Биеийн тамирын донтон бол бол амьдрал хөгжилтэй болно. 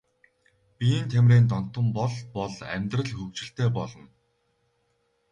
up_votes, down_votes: 2, 2